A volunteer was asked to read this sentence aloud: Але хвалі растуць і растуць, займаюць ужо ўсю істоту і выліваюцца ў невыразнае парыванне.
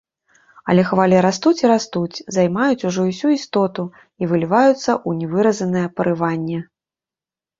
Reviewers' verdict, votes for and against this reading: rejected, 0, 2